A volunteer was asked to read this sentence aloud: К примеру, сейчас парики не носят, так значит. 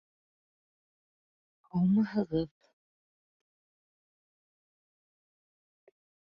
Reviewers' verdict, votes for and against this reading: rejected, 0, 2